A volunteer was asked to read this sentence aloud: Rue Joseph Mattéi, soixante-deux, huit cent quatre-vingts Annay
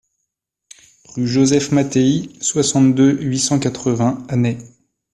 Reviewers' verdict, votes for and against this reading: accepted, 2, 0